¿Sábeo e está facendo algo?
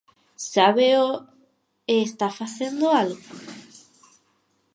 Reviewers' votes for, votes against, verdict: 4, 0, accepted